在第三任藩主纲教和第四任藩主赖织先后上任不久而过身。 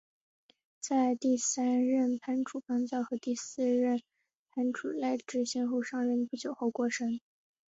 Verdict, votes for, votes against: accepted, 3, 0